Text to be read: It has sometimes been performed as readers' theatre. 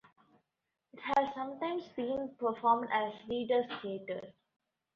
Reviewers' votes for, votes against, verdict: 2, 1, accepted